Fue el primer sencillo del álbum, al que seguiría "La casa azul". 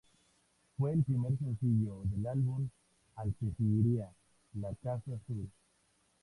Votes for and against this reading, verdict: 2, 0, accepted